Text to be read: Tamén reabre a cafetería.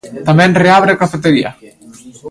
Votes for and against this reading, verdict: 2, 0, accepted